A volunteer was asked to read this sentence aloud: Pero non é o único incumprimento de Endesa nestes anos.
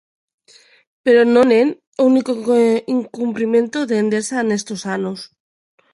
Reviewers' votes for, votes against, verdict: 0, 2, rejected